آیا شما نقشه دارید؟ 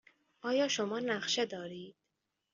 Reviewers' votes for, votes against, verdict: 2, 0, accepted